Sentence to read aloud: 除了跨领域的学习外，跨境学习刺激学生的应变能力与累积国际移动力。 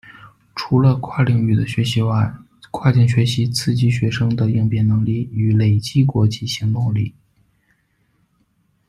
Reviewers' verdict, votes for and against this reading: rejected, 0, 2